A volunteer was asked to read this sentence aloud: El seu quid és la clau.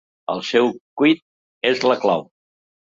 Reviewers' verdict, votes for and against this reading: rejected, 0, 2